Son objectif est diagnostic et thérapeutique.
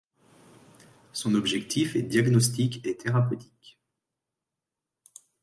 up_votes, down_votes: 2, 0